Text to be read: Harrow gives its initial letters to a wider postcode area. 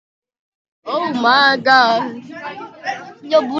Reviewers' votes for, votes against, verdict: 0, 2, rejected